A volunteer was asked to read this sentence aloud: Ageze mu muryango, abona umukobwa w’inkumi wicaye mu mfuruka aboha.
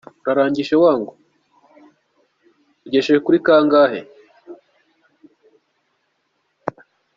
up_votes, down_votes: 0, 2